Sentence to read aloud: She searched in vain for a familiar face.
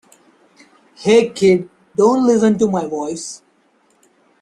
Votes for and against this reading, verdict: 0, 2, rejected